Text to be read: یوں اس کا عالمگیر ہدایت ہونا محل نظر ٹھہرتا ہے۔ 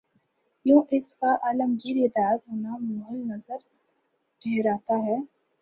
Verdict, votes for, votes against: rejected, 0, 2